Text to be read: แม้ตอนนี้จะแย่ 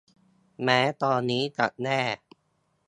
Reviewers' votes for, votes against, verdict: 1, 2, rejected